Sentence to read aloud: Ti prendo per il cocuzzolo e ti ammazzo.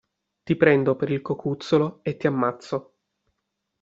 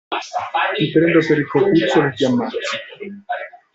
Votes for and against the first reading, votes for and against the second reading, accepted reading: 2, 0, 1, 2, first